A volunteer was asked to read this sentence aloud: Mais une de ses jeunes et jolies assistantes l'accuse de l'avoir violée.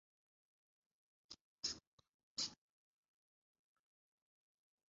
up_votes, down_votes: 0, 2